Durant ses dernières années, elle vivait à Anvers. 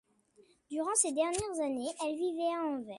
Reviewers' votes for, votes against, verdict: 2, 0, accepted